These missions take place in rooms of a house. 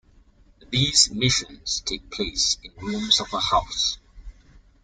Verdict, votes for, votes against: accepted, 2, 1